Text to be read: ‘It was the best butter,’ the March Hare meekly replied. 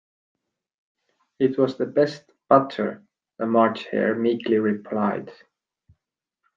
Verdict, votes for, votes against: accepted, 2, 1